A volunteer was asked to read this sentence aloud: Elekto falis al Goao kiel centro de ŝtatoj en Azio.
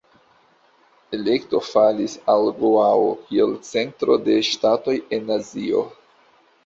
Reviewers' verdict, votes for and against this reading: accepted, 2, 0